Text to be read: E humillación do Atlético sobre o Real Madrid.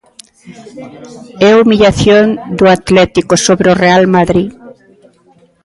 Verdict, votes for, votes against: rejected, 0, 2